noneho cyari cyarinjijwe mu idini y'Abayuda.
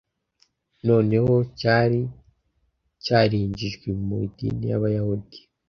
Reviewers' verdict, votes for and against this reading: rejected, 0, 2